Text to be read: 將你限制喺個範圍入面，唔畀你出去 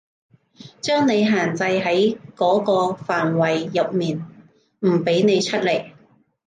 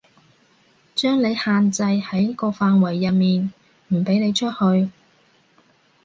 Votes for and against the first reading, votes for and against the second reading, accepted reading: 0, 2, 2, 0, second